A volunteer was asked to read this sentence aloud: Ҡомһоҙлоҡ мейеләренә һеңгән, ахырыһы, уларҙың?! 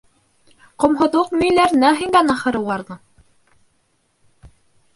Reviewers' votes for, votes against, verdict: 1, 2, rejected